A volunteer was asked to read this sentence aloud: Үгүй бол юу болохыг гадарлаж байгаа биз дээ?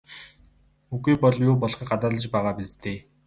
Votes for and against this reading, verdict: 2, 2, rejected